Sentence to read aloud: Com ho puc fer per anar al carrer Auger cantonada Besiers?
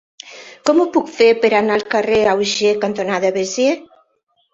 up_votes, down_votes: 0, 2